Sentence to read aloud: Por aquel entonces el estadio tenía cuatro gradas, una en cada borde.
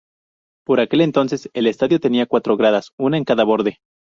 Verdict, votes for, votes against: accepted, 2, 0